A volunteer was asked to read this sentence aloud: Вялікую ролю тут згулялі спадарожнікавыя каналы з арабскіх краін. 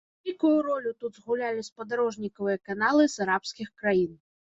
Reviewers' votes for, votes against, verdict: 1, 2, rejected